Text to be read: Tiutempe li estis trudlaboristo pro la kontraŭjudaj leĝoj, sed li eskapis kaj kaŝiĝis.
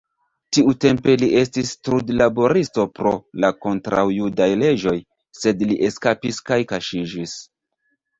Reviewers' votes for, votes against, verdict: 1, 2, rejected